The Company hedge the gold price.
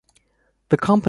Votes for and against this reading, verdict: 0, 2, rejected